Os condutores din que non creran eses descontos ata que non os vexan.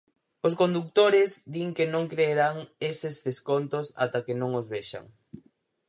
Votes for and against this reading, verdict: 2, 2, rejected